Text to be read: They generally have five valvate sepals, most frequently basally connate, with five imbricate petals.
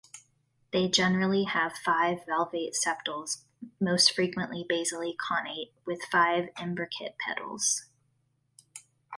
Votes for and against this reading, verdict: 2, 0, accepted